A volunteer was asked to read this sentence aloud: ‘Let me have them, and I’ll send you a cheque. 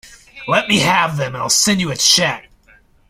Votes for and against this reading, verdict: 2, 1, accepted